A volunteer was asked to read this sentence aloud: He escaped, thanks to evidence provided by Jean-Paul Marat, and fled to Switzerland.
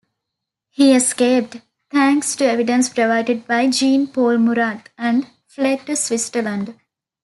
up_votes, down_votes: 0, 2